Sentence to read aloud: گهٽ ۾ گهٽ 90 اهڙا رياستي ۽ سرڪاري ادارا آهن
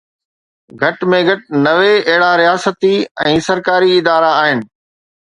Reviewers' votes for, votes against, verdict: 0, 2, rejected